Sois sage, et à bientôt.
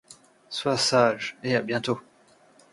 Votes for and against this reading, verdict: 2, 0, accepted